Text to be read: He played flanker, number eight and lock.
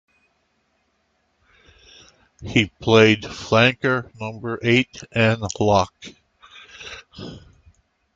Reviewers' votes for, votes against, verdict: 2, 0, accepted